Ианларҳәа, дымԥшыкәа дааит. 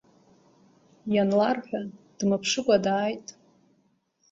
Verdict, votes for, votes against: rejected, 1, 2